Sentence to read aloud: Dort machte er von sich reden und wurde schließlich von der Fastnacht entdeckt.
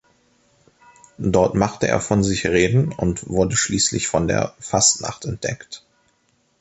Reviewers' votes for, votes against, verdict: 2, 0, accepted